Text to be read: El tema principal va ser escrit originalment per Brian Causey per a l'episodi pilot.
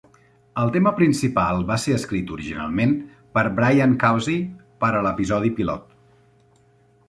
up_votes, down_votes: 2, 0